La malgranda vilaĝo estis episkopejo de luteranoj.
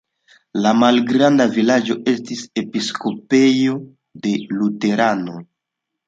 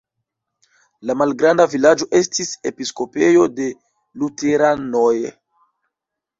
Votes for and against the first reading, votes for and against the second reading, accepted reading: 2, 0, 0, 2, first